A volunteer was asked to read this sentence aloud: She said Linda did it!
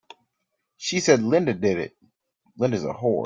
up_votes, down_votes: 0, 2